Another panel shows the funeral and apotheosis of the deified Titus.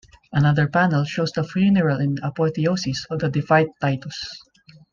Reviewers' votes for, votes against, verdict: 1, 2, rejected